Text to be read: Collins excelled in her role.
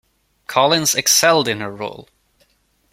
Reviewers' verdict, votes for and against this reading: accepted, 2, 0